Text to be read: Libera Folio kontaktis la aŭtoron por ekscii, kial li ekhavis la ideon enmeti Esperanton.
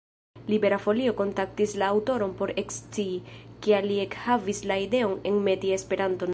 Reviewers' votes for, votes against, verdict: 0, 2, rejected